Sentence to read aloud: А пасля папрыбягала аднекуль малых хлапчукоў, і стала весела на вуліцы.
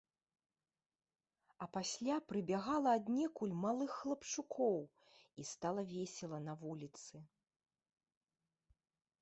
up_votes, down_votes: 1, 2